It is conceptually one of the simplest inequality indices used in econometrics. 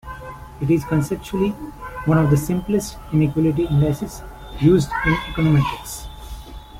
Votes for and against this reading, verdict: 2, 0, accepted